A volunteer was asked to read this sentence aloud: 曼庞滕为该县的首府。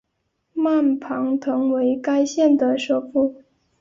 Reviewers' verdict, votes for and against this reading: accepted, 2, 1